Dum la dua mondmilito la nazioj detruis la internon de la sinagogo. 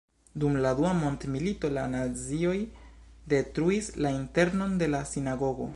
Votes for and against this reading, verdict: 2, 1, accepted